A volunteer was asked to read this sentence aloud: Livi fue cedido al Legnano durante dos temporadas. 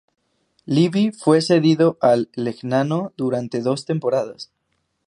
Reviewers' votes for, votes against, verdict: 2, 0, accepted